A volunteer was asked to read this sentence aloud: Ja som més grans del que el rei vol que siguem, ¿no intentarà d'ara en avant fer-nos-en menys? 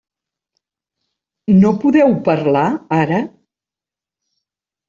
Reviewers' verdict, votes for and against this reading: rejected, 0, 2